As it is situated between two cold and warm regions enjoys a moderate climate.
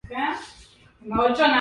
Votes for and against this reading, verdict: 0, 2, rejected